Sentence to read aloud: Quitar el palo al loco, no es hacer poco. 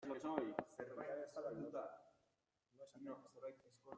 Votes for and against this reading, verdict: 0, 2, rejected